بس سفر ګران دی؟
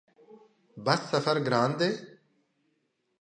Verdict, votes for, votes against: accepted, 2, 0